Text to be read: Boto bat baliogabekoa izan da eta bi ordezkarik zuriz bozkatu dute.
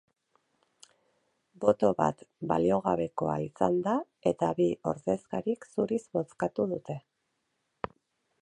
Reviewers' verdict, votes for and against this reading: accepted, 4, 0